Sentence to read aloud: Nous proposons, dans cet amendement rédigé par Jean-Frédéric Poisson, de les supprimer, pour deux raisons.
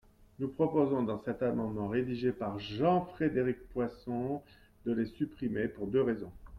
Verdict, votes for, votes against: accepted, 2, 0